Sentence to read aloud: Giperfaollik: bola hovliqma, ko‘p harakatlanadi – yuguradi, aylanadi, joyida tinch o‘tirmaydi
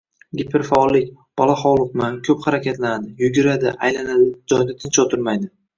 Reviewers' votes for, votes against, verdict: 2, 0, accepted